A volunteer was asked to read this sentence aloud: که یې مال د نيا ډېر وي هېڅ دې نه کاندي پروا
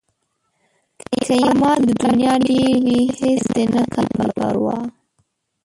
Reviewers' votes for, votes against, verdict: 1, 2, rejected